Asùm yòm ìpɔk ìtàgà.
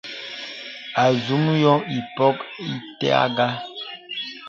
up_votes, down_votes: 0, 3